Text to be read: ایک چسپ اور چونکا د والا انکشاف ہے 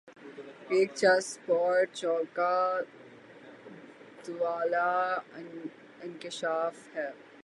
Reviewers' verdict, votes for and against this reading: rejected, 6, 12